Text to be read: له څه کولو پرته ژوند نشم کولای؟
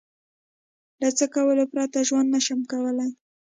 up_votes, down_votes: 3, 0